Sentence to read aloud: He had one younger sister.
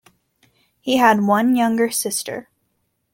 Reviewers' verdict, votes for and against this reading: accepted, 2, 0